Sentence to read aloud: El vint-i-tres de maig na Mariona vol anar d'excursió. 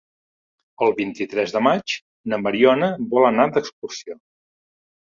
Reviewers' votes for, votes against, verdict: 5, 0, accepted